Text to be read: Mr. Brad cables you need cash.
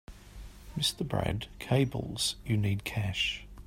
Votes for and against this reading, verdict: 3, 0, accepted